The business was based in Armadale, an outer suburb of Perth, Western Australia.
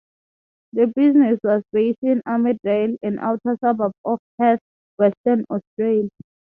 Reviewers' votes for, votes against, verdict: 0, 6, rejected